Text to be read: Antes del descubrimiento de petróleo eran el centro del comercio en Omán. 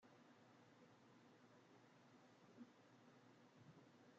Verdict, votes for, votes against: rejected, 0, 2